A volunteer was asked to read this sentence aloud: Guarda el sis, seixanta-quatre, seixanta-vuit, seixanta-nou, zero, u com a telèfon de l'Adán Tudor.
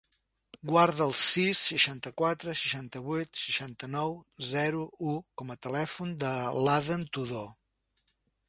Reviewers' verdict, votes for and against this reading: rejected, 1, 2